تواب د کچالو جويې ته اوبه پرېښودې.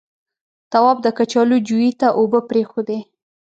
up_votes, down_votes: 2, 0